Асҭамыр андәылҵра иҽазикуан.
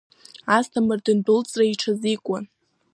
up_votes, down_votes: 1, 2